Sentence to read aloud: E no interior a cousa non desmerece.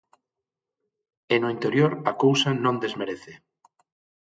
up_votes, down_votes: 6, 0